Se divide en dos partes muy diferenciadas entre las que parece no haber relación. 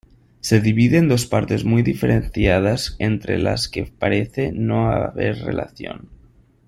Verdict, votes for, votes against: accepted, 2, 0